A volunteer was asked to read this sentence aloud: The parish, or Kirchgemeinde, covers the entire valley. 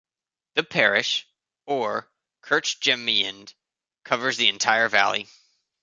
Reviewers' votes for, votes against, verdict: 0, 2, rejected